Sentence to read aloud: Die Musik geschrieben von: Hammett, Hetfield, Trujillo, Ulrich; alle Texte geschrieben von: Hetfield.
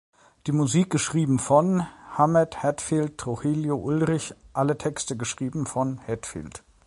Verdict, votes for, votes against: accepted, 2, 0